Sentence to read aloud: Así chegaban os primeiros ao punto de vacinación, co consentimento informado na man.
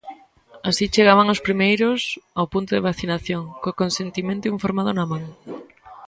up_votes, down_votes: 0, 2